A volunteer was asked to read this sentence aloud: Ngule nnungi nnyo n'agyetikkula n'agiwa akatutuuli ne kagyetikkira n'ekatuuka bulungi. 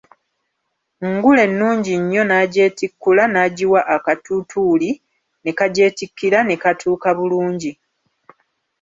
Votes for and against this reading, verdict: 1, 2, rejected